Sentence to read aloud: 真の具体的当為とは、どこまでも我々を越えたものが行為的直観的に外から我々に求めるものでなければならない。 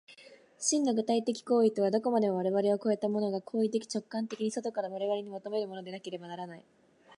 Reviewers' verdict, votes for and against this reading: accepted, 2, 0